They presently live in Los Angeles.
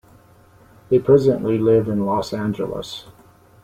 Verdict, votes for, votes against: rejected, 0, 2